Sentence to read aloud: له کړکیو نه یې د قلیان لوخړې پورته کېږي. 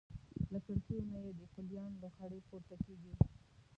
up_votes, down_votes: 0, 2